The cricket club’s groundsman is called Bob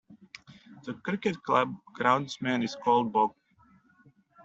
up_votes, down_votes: 0, 2